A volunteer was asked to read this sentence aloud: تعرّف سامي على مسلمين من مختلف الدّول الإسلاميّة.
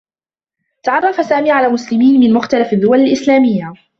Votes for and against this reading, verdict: 2, 0, accepted